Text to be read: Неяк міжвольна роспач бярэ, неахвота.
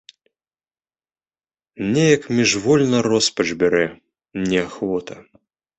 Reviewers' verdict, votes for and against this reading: accepted, 2, 0